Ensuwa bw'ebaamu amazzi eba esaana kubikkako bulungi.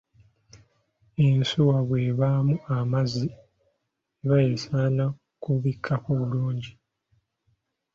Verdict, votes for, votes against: accepted, 2, 0